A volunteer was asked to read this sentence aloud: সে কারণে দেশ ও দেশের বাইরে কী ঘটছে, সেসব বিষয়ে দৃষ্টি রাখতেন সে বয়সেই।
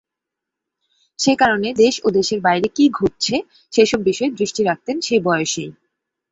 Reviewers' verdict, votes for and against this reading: accepted, 10, 0